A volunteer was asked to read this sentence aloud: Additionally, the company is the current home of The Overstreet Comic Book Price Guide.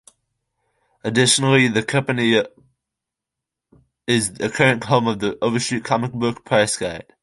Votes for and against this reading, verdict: 2, 1, accepted